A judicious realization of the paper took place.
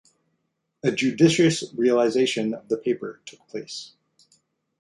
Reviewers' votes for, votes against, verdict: 0, 2, rejected